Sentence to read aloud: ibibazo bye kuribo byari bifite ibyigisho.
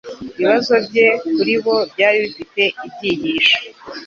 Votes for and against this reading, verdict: 2, 0, accepted